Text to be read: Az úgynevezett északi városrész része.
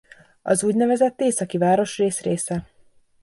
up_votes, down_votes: 2, 0